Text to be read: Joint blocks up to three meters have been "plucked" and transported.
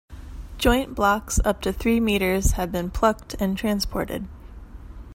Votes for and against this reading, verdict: 2, 0, accepted